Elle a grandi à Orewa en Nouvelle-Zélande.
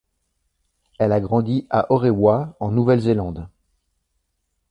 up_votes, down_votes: 2, 0